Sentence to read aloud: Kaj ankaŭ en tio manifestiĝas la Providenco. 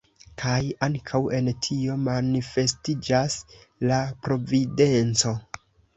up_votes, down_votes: 2, 1